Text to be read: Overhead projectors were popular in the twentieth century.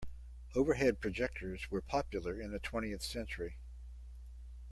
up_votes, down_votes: 2, 0